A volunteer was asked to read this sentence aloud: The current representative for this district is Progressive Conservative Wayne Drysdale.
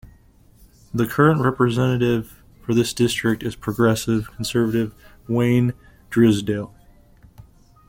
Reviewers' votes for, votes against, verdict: 2, 0, accepted